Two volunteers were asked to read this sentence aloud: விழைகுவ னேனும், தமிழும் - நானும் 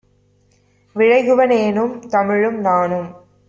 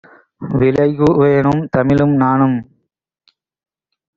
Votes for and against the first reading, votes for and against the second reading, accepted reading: 2, 0, 2, 3, first